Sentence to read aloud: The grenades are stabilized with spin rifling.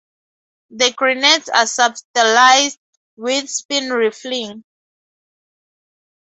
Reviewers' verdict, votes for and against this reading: rejected, 2, 2